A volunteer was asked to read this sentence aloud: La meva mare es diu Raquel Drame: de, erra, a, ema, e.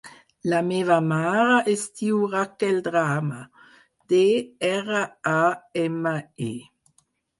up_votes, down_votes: 2, 4